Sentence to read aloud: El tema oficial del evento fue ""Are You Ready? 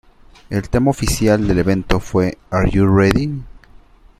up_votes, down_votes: 2, 1